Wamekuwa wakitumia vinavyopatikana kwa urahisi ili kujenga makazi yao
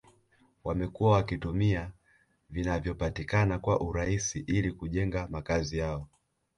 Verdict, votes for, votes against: rejected, 1, 2